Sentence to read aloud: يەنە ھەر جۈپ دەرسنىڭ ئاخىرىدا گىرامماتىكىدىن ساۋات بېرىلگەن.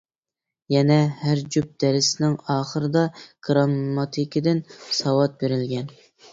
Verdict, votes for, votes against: accepted, 2, 0